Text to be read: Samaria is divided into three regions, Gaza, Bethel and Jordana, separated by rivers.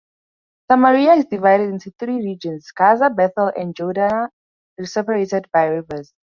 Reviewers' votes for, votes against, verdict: 2, 0, accepted